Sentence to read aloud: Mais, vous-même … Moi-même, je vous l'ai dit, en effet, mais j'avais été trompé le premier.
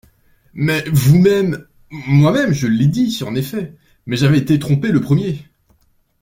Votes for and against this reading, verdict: 1, 2, rejected